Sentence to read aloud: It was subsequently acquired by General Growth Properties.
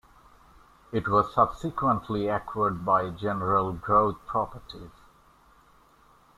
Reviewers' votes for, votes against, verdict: 2, 1, accepted